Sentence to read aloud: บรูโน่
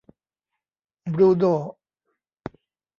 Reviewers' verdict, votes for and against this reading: rejected, 1, 2